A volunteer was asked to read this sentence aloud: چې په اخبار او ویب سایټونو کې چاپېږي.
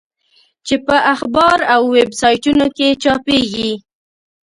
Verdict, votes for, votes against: accepted, 2, 0